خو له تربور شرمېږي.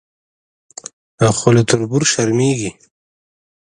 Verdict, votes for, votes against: accepted, 2, 0